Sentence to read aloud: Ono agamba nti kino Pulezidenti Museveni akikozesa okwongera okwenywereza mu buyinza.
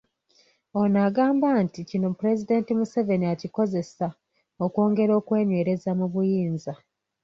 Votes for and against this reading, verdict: 2, 0, accepted